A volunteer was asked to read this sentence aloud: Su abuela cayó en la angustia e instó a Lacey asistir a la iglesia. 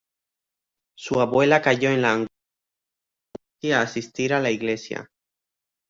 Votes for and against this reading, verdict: 0, 2, rejected